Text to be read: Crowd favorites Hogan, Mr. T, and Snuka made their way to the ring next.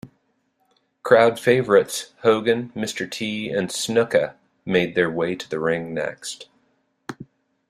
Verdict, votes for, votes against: accepted, 2, 0